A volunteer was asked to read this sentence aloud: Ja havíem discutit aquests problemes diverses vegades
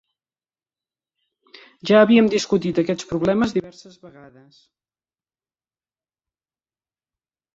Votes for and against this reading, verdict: 3, 0, accepted